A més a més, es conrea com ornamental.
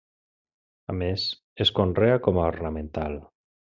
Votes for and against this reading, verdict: 0, 2, rejected